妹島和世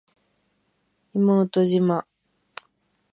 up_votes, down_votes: 0, 2